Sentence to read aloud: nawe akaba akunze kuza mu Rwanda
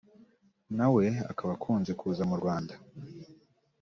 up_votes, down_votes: 3, 0